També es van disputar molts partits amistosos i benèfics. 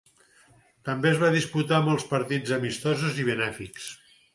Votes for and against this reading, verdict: 2, 4, rejected